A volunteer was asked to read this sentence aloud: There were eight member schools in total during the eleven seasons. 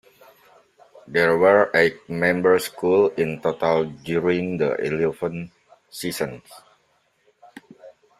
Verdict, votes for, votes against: rejected, 0, 2